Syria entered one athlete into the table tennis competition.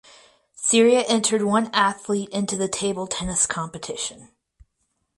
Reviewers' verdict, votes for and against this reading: rejected, 2, 2